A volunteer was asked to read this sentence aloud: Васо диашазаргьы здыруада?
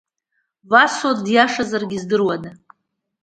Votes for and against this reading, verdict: 2, 0, accepted